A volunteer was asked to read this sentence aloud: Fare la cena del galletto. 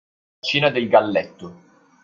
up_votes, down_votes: 1, 2